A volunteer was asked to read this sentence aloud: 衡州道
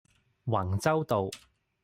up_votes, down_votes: 1, 2